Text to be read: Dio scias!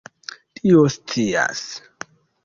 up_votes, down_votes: 1, 3